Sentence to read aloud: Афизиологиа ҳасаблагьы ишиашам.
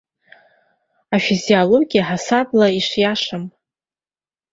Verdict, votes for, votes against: accepted, 3, 0